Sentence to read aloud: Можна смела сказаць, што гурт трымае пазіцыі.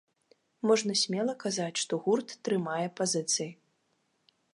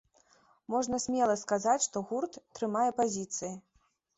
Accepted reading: second